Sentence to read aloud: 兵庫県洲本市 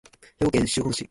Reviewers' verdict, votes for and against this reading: rejected, 0, 2